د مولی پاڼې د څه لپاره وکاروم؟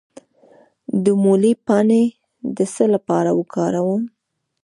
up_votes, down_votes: 2, 0